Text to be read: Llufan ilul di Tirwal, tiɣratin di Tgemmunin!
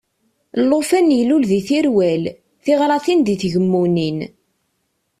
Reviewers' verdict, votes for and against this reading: accepted, 2, 0